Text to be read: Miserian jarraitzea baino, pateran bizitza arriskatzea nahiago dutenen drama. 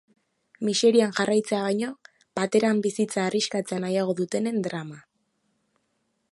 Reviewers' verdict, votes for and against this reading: accepted, 2, 0